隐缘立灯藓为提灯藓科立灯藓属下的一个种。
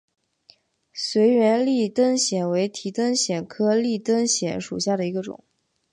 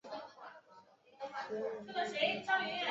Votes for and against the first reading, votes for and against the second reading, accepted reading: 2, 0, 0, 7, first